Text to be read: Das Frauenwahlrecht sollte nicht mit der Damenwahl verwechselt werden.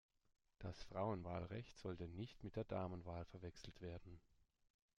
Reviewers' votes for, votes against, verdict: 0, 2, rejected